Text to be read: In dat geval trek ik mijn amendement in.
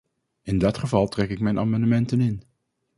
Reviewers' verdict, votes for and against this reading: rejected, 0, 2